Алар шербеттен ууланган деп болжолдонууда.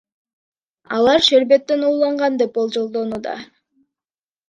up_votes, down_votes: 2, 0